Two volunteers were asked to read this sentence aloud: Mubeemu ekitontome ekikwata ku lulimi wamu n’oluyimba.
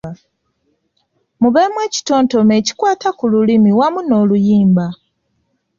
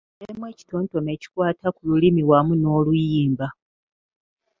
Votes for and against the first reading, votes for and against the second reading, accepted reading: 2, 0, 1, 2, first